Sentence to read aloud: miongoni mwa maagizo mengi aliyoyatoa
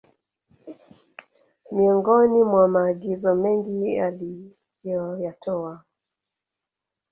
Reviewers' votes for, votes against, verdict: 1, 2, rejected